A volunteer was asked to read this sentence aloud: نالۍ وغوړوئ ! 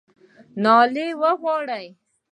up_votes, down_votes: 1, 2